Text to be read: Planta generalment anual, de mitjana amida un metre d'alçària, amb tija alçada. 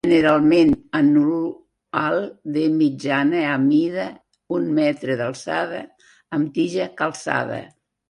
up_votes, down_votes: 0, 2